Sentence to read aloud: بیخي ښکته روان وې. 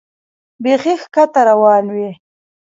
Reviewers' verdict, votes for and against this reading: rejected, 1, 2